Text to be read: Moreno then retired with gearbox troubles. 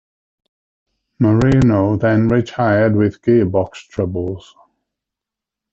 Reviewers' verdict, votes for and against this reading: rejected, 1, 2